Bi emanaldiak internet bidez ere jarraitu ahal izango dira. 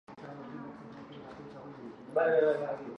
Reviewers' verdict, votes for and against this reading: rejected, 0, 4